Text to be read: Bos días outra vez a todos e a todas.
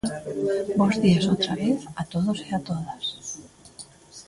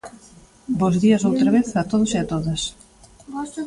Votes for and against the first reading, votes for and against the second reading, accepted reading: 2, 0, 1, 2, first